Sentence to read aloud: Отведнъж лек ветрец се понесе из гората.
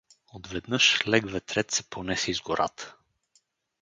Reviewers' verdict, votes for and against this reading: accepted, 4, 0